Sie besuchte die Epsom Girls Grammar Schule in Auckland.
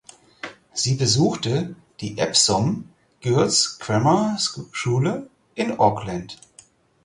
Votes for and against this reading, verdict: 0, 4, rejected